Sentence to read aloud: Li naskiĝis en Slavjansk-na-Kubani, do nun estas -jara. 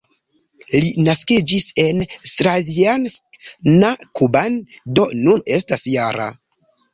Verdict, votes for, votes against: rejected, 0, 2